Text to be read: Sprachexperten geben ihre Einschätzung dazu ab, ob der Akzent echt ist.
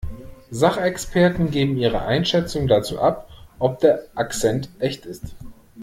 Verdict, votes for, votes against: rejected, 0, 2